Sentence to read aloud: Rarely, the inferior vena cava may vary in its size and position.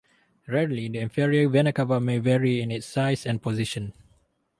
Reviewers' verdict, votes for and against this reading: accepted, 2, 0